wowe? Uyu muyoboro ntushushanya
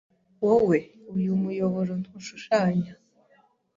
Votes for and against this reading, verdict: 2, 0, accepted